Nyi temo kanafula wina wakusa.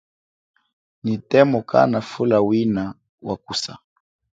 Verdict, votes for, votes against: accepted, 5, 0